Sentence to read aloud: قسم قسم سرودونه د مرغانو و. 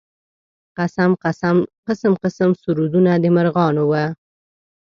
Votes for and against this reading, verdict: 1, 2, rejected